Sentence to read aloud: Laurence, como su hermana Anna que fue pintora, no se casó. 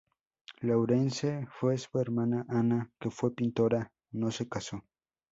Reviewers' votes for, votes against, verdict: 0, 2, rejected